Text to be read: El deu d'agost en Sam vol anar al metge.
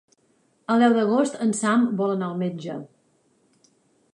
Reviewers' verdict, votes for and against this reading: accepted, 5, 0